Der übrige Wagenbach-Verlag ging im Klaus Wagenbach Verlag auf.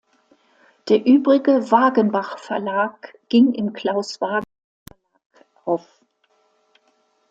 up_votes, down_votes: 0, 2